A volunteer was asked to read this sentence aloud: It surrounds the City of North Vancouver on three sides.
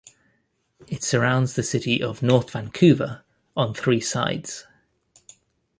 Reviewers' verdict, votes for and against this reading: accepted, 2, 0